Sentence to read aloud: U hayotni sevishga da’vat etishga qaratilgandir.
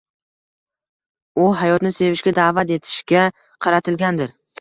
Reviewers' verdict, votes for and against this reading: accepted, 2, 0